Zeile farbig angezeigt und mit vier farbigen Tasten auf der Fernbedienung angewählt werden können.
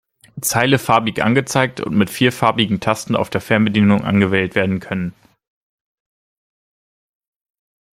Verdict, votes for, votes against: accepted, 2, 0